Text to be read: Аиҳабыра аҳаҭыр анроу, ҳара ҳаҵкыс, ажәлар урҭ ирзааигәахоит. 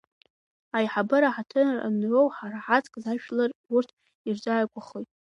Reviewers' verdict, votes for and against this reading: rejected, 0, 2